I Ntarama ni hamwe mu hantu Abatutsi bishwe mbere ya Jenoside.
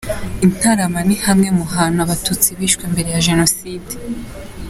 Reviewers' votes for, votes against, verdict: 2, 0, accepted